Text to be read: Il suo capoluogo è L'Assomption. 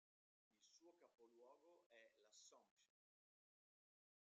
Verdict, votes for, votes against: rejected, 0, 2